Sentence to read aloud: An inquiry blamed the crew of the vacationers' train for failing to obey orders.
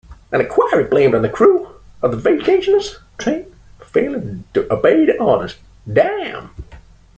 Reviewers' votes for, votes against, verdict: 0, 2, rejected